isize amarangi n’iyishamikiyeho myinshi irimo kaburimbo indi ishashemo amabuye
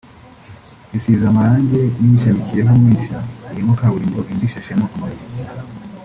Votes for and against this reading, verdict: 1, 2, rejected